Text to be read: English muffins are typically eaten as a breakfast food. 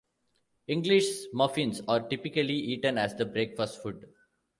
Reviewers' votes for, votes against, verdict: 1, 2, rejected